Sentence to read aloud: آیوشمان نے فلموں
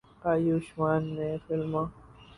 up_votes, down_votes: 2, 0